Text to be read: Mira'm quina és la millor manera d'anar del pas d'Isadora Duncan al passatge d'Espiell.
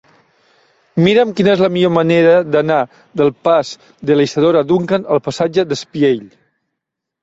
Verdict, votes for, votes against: rejected, 0, 2